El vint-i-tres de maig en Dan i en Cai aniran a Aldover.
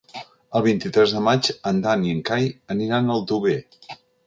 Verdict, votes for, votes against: accepted, 2, 0